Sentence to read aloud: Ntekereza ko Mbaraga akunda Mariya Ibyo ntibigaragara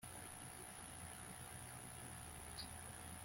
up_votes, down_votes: 0, 2